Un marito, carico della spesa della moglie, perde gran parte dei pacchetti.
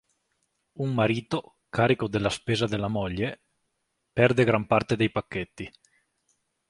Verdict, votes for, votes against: accepted, 2, 0